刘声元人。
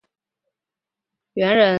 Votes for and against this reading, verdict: 0, 3, rejected